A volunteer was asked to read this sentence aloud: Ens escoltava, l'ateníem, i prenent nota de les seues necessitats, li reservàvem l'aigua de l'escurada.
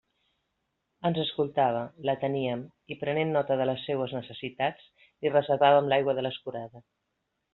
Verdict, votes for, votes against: accepted, 2, 0